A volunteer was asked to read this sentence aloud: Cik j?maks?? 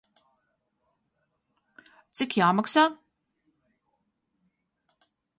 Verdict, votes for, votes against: rejected, 0, 2